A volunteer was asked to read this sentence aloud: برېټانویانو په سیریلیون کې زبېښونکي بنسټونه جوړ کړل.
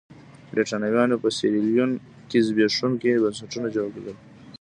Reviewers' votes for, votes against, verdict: 1, 2, rejected